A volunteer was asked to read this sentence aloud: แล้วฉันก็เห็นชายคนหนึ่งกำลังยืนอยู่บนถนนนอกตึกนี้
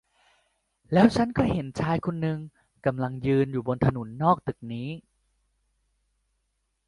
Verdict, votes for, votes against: rejected, 0, 2